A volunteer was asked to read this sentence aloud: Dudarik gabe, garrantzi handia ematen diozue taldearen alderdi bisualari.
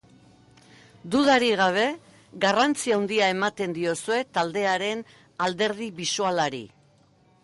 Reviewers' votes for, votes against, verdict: 2, 1, accepted